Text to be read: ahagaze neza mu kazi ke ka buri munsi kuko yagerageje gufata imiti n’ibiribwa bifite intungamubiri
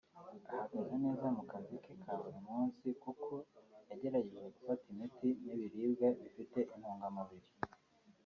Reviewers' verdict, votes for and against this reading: accepted, 2, 1